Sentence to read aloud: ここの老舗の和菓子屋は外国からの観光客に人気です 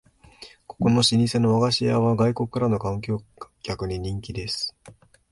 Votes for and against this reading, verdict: 0, 2, rejected